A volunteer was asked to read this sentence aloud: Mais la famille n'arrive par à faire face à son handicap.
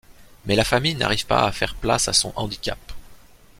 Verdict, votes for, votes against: rejected, 0, 2